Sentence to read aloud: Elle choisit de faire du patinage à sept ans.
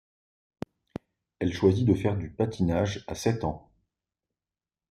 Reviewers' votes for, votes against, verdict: 2, 0, accepted